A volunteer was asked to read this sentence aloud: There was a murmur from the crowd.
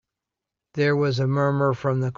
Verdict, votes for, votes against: rejected, 1, 2